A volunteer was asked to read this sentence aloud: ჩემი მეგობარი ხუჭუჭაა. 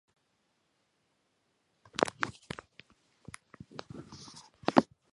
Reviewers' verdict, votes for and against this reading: rejected, 0, 2